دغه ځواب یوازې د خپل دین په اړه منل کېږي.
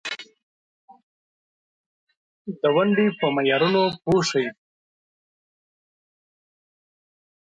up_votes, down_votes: 0, 2